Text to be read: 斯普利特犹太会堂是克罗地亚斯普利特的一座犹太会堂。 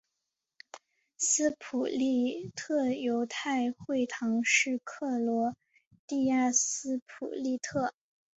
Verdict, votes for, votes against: rejected, 0, 2